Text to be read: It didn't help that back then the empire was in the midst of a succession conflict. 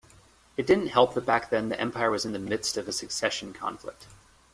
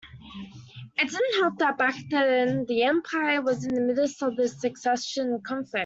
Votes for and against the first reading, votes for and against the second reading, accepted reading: 2, 1, 0, 2, first